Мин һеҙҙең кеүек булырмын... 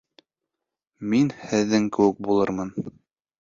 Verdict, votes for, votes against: accepted, 2, 0